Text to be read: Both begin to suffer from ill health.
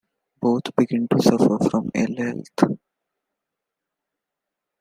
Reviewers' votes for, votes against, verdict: 2, 0, accepted